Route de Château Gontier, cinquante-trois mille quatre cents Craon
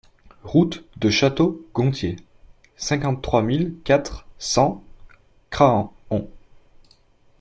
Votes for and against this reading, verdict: 1, 2, rejected